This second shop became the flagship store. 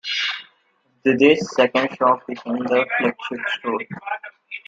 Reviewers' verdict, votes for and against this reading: rejected, 0, 2